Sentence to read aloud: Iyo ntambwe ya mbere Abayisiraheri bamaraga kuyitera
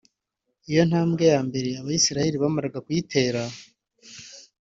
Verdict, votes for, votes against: accepted, 2, 0